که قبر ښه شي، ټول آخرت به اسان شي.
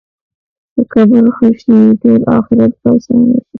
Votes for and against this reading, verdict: 2, 1, accepted